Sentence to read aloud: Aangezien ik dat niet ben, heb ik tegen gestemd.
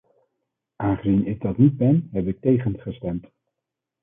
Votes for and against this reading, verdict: 2, 0, accepted